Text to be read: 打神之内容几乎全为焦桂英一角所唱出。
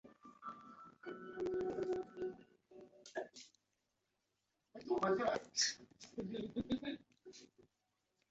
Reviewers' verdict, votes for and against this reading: rejected, 0, 2